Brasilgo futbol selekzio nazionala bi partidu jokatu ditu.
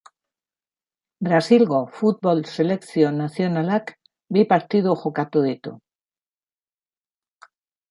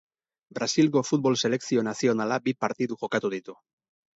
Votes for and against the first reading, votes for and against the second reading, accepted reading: 0, 2, 6, 0, second